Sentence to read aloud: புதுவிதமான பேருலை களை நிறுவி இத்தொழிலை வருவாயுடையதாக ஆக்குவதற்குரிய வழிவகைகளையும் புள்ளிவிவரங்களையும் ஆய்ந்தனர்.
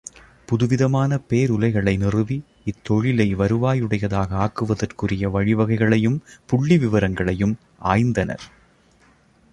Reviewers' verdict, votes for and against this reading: accepted, 2, 0